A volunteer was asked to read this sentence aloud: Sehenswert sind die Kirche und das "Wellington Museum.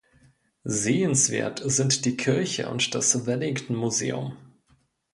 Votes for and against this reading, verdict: 2, 0, accepted